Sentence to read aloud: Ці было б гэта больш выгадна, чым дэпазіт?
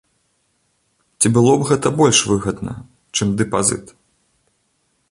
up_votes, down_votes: 0, 2